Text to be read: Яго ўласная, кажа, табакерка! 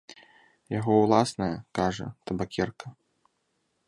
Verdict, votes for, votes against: accepted, 2, 0